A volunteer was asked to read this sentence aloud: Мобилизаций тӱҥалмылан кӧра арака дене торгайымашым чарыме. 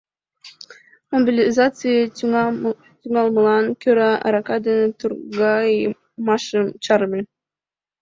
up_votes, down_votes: 2, 1